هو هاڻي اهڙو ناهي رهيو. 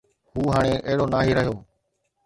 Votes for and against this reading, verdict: 2, 0, accepted